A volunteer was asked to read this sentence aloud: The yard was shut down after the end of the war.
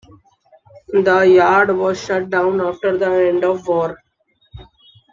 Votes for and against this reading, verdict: 0, 2, rejected